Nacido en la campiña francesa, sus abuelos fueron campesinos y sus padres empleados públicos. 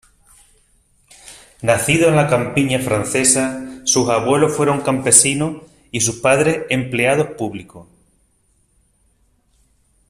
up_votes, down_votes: 2, 0